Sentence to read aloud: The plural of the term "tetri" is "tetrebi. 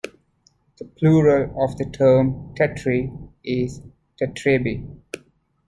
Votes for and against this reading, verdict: 2, 1, accepted